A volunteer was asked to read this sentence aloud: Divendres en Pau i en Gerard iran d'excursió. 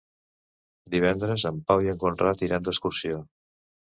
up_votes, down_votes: 0, 2